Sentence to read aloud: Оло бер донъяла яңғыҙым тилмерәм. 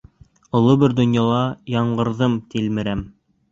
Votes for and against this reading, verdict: 0, 3, rejected